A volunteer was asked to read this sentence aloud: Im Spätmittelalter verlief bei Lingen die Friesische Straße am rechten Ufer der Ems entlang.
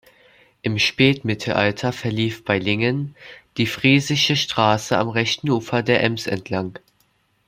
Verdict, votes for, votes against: accepted, 2, 0